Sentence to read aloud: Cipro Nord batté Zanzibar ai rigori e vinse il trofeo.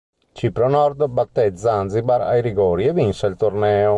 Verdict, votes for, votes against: rejected, 1, 3